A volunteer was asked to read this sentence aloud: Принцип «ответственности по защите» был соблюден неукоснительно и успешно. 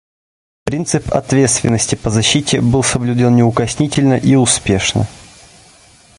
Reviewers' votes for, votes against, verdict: 2, 0, accepted